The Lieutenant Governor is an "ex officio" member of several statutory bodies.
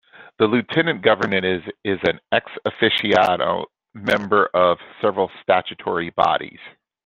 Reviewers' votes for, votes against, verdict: 0, 2, rejected